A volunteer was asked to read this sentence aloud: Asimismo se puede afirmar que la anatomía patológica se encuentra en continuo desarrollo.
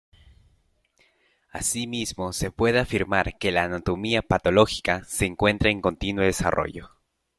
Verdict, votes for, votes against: accepted, 2, 0